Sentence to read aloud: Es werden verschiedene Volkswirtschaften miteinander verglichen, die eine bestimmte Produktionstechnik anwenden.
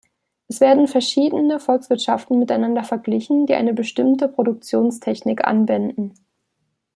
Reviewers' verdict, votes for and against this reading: accepted, 2, 0